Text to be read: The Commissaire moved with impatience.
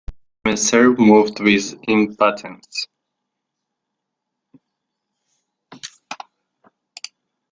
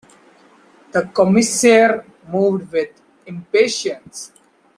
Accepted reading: second